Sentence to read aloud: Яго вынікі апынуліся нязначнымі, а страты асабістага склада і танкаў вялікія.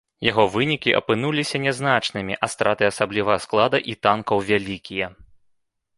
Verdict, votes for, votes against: rejected, 1, 2